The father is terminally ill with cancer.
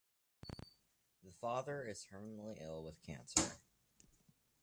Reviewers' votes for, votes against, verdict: 1, 2, rejected